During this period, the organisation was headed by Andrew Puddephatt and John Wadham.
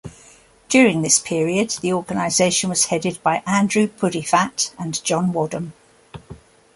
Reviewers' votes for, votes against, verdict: 3, 0, accepted